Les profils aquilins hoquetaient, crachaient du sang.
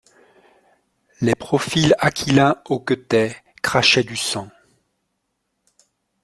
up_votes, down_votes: 2, 0